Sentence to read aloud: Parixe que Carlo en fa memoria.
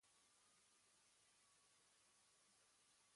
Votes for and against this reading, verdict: 1, 2, rejected